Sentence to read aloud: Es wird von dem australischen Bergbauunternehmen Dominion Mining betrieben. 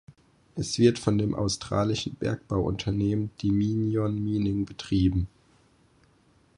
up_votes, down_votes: 2, 4